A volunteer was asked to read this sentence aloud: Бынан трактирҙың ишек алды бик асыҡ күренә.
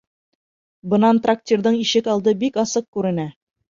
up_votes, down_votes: 3, 0